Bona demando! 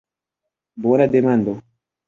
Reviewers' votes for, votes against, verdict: 3, 1, accepted